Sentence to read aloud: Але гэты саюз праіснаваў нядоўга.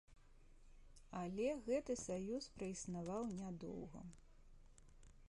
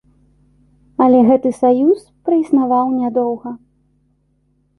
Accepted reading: second